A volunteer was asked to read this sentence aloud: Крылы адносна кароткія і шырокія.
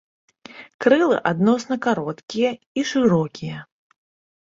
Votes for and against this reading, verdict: 2, 0, accepted